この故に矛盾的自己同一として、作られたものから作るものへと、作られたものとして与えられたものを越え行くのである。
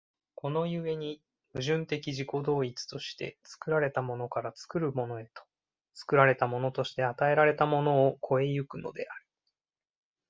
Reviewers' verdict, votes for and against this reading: accepted, 2, 0